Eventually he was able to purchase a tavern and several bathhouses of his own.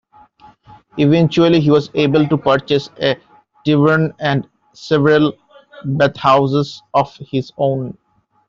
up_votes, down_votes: 0, 2